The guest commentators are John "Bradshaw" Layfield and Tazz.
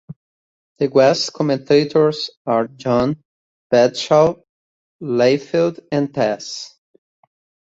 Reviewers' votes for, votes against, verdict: 2, 0, accepted